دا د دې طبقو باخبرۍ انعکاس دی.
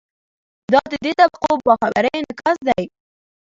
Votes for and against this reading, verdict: 2, 1, accepted